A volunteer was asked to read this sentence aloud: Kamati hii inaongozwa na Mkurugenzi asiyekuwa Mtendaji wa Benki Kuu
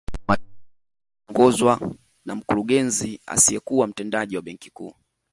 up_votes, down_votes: 0, 2